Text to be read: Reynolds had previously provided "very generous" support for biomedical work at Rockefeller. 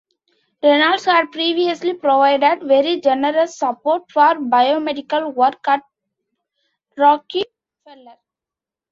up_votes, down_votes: 0, 2